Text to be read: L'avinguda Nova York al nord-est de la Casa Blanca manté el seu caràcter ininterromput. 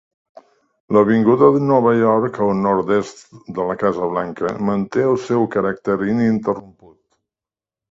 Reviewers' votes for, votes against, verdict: 0, 2, rejected